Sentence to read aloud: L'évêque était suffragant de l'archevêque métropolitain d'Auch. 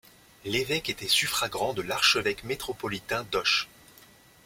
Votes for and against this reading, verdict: 1, 2, rejected